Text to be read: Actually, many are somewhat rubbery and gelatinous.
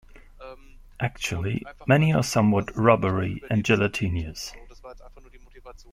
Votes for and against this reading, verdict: 0, 2, rejected